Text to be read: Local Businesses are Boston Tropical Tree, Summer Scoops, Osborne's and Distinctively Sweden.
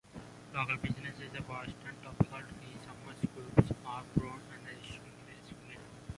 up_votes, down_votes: 0, 2